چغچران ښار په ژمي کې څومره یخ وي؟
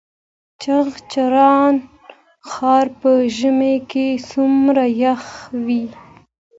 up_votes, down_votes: 2, 0